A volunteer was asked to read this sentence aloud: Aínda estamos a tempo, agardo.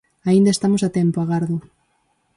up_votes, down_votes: 4, 0